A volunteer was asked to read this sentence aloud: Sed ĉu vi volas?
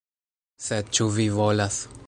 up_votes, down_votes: 2, 0